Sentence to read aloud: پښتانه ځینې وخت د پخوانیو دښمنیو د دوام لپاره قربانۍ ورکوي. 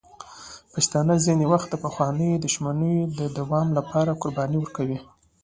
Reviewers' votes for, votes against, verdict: 2, 0, accepted